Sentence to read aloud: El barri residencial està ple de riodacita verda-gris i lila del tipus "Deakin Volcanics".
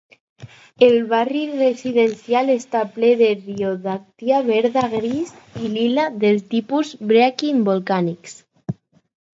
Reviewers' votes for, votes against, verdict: 2, 2, rejected